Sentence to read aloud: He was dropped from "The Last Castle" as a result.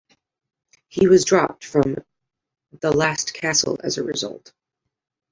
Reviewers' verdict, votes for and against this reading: accepted, 2, 0